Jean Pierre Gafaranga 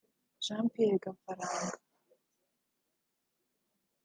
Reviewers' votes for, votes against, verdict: 2, 1, accepted